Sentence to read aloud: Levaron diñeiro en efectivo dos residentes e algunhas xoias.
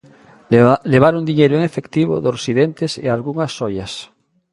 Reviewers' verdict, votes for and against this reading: rejected, 0, 2